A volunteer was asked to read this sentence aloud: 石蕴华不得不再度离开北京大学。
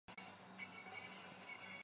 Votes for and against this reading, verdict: 0, 2, rejected